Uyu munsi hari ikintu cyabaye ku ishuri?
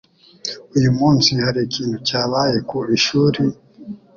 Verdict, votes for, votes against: accepted, 2, 0